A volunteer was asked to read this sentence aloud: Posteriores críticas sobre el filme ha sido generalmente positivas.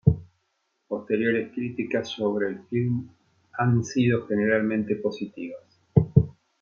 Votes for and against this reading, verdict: 1, 2, rejected